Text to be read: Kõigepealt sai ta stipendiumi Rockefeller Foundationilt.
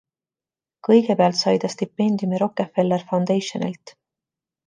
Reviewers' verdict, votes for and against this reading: accepted, 2, 0